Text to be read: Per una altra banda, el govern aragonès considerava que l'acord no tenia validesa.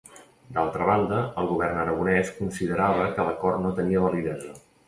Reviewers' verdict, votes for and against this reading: rejected, 1, 2